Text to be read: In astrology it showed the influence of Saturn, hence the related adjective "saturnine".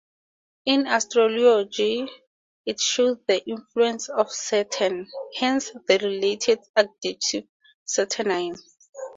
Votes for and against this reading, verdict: 0, 2, rejected